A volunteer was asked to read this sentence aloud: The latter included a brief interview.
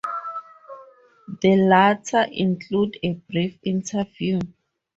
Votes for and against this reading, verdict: 0, 2, rejected